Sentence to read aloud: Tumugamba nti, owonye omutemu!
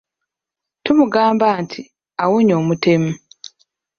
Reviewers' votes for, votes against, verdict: 0, 2, rejected